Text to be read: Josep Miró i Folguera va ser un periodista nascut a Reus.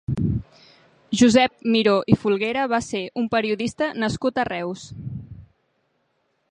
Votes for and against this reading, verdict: 3, 0, accepted